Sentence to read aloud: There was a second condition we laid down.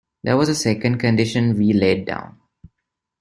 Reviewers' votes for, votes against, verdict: 2, 0, accepted